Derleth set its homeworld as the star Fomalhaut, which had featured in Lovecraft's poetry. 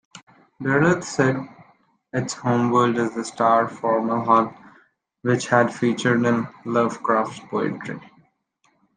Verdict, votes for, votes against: rejected, 1, 2